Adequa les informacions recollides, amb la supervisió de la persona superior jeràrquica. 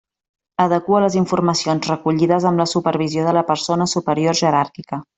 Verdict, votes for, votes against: accepted, 3, 0